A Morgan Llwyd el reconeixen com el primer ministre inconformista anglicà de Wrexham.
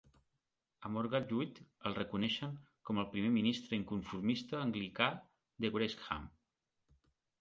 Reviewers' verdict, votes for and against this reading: accepted, 2, 0